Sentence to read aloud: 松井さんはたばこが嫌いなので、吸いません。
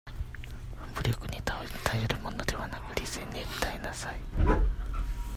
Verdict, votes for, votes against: rejected, 0, 2